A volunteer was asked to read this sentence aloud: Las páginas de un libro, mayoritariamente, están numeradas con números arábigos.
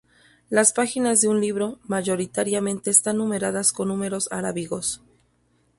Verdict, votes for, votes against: accepted, 2, 0